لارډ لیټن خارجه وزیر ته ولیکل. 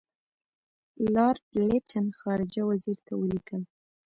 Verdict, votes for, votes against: accepted, 3, 0